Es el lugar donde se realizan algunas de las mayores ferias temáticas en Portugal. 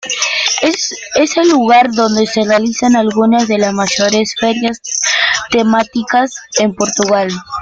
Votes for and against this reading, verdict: 1, 2, rejected